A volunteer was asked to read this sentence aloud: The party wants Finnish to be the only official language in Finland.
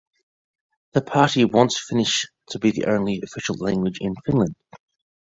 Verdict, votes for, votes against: accepted, 2, 0